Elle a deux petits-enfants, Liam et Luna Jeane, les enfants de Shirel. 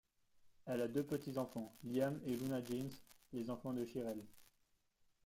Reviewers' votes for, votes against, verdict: 1, 2, rejected